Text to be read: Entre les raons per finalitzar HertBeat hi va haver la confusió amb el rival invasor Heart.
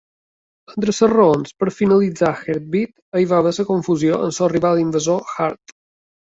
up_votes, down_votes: 2, 1